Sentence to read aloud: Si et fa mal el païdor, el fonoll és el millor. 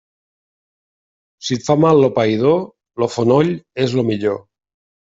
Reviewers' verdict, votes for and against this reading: rejected, 0, 2